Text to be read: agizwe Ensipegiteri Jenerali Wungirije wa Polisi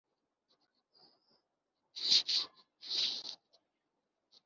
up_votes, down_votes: 0, 2